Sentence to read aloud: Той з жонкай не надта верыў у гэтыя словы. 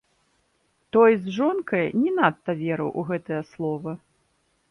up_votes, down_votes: 1, 2